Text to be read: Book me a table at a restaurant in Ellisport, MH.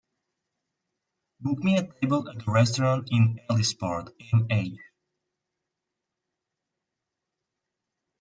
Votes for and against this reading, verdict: 2, 1, accepted